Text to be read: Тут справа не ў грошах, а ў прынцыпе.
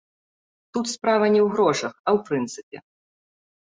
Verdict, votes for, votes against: accepted, 2, 0